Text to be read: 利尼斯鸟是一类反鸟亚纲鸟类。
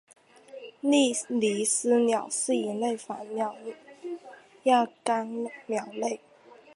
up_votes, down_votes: 1, 2